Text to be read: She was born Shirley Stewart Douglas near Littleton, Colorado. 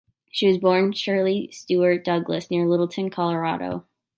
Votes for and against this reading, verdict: 2, 0, accepted